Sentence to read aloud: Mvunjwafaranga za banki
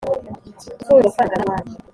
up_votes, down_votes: 1, 2